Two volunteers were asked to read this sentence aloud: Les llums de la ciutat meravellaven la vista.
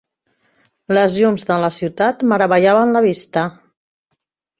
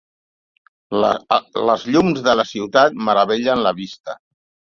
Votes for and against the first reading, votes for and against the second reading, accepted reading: 3, 0, 0, 2, first